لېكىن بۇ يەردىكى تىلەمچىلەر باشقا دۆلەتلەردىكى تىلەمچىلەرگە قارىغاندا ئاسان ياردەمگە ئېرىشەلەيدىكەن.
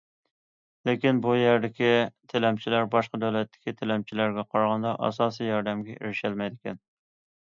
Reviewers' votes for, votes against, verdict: 1, 2, rejected